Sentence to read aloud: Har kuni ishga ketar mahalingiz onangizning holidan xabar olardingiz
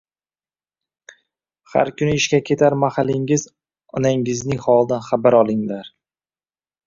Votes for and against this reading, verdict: 0, 2, rejected